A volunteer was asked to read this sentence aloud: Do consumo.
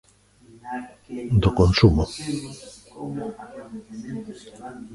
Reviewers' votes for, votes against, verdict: 0, 2, rejected